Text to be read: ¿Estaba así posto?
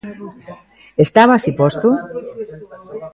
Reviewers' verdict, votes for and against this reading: rejected, 0, 2